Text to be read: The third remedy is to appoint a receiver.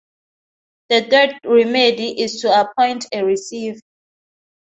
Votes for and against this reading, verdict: 0, 2, rejected